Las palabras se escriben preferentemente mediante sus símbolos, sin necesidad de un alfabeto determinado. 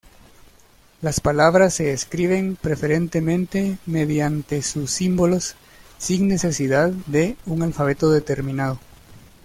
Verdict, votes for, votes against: accepted, 2, 0